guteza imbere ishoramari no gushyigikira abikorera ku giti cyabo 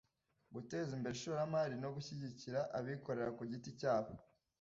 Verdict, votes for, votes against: accepted, 2, 0